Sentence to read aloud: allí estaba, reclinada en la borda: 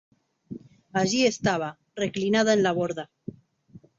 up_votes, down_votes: 2, 0